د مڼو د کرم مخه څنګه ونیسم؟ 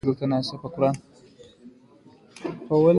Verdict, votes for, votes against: rejected, 1, 2